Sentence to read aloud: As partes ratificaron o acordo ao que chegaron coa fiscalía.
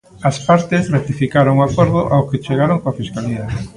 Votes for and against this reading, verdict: 1, 2, rejected